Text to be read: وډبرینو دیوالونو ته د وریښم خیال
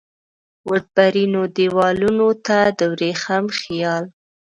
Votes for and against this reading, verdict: 1, 2, rejected